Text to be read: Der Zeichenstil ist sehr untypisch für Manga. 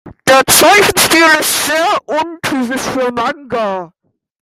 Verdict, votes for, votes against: rejected, 1, 2